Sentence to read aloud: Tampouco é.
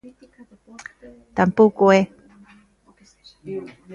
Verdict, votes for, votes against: accepted, 2, 1